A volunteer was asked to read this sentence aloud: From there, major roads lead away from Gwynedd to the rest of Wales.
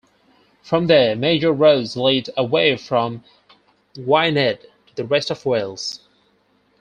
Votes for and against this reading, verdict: 0, 4, rejected